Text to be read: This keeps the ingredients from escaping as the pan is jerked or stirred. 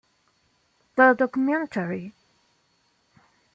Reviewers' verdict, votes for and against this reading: rejected, 0, 2